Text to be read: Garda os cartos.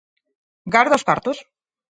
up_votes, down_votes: 4, 0